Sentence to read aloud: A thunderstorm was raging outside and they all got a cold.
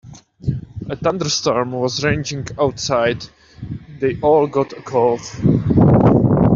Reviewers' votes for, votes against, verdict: 0, 2, rejected